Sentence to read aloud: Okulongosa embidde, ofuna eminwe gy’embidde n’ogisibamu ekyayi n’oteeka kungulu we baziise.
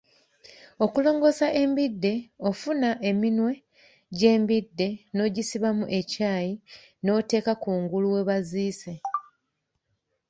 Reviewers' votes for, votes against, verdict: 2, 1, accepted